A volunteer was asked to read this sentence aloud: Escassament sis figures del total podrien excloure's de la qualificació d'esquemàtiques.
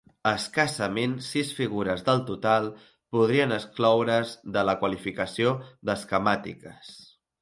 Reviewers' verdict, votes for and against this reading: accepted, 2, 0